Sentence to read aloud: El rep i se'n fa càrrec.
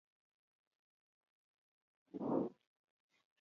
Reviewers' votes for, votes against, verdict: 0, 2, rejected